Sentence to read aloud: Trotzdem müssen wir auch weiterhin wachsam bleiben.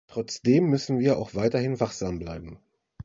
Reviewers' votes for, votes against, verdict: 2, 0, accepted